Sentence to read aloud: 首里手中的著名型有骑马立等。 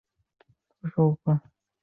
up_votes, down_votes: 1, 2